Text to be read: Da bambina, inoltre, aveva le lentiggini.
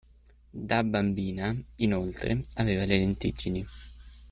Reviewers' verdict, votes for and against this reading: accepted, 2, 0